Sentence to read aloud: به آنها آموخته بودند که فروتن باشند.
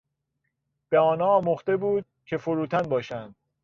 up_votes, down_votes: 1, 2